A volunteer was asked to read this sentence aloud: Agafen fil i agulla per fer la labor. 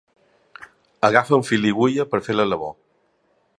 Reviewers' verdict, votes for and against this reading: accepted, 2, 0